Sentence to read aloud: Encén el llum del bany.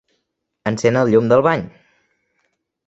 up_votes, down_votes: 3, 0